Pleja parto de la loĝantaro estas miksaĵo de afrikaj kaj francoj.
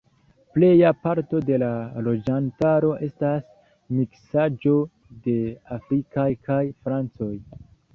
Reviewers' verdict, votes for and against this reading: rejected, 1, 2